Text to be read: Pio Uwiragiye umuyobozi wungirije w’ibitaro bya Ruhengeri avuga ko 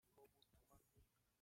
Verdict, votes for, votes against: rejected, 0, 2